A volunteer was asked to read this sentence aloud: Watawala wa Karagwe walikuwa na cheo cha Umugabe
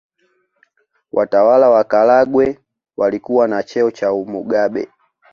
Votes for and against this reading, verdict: 2, 0, accepted